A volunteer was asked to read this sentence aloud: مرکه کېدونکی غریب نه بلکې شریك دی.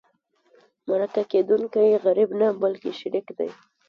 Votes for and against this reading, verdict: 1, 2, rejected